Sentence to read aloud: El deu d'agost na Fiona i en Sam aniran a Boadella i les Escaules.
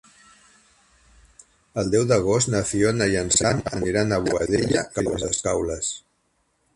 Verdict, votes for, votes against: rejected, 2, 4